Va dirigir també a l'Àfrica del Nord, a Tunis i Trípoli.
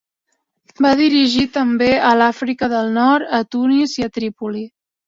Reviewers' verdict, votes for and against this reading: accepted, 2, 0